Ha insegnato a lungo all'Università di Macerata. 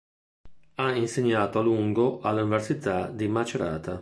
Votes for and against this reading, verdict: 1, 2, rejected